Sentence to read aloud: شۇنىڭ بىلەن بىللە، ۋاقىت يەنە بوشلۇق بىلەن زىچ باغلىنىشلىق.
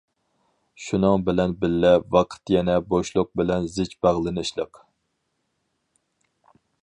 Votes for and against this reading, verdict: 4, 0, accepted